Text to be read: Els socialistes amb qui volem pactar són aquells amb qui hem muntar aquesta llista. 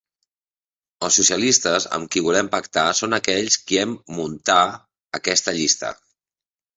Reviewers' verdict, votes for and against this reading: rejected, 0, 2